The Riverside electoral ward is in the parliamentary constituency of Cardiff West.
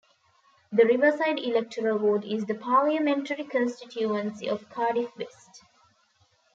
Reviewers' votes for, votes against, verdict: 2, 3, rejected